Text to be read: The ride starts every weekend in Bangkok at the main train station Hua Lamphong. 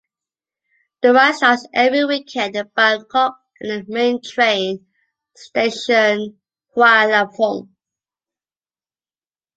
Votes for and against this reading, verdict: 0, 2, rejected